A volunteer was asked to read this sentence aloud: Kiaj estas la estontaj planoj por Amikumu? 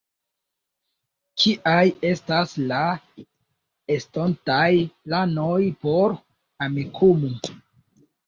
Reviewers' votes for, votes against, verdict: 2, 1, accepted